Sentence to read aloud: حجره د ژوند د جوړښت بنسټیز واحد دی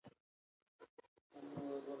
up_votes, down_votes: 0, 2